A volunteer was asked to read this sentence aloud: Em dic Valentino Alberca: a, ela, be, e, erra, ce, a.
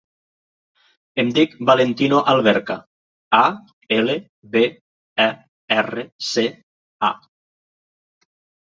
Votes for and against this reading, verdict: 0, 2, rejected